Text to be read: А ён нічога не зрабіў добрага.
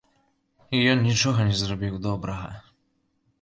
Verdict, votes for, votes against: rejected, 0, 2